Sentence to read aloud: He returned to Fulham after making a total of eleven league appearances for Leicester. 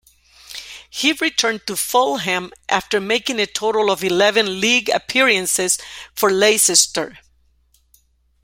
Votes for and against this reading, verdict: 1, 2, rejected